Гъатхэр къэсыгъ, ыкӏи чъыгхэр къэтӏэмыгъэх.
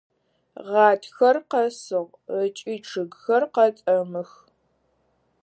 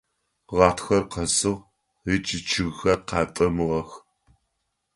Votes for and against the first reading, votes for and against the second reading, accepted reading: 2, 4, 3, 0, second